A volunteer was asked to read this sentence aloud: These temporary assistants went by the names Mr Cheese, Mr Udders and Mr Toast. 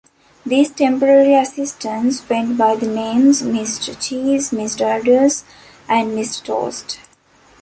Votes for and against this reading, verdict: 1, 2, rejected